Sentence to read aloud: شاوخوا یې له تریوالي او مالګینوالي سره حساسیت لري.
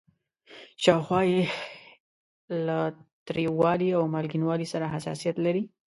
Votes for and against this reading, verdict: 2, 0, accepted